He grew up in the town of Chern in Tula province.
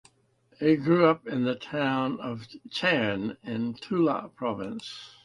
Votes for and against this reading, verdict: 2, 0, accepted